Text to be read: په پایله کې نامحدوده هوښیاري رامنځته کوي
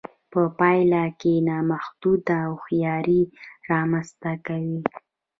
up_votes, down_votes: 1, 2